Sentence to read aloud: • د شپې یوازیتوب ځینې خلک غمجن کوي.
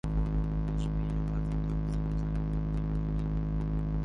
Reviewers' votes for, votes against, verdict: 0, 2, rejected